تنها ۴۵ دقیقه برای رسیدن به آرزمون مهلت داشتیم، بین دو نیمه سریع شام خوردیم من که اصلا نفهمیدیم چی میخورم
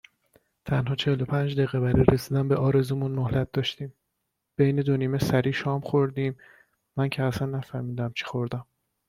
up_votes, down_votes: 0, 2